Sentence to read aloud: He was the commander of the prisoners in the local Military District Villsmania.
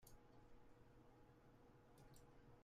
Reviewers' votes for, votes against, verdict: 0, 2, rejected